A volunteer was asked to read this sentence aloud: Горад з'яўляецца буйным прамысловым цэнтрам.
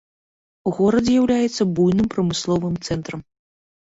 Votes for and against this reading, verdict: 1, 2, rejected